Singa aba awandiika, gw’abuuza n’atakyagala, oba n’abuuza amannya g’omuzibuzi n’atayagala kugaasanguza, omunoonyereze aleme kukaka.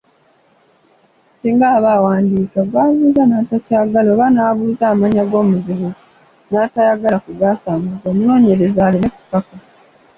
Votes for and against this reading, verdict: 2, 1, accepted